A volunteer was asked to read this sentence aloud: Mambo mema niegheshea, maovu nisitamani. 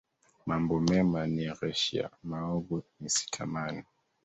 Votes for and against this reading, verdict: 1, 2, rejected